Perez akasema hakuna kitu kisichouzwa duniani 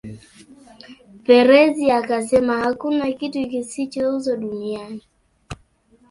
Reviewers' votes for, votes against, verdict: 0, 2, rejected